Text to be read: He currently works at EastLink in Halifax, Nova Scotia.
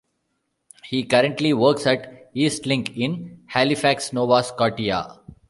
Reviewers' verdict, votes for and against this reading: rejected, 1, 2